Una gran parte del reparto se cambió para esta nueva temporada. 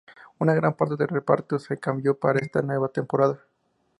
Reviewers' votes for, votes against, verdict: 2, 0, accepted